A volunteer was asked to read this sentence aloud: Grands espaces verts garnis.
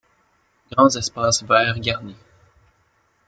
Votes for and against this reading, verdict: 2, 0, accepted